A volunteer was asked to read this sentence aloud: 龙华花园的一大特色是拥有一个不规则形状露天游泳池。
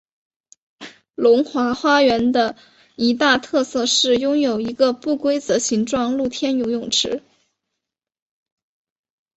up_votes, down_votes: 3, 1